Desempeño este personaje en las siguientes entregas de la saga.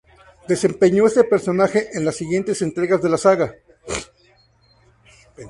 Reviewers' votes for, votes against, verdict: 2, 0, accepted